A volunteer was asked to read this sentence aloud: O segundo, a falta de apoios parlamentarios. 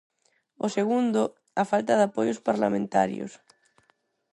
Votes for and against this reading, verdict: 4, 0, accepted